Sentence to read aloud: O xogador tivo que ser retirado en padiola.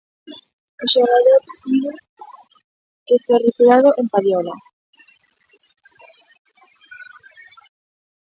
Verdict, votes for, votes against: rejected, 0, 2